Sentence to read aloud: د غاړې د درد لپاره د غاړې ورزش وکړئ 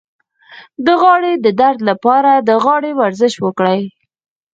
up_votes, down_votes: 2, 6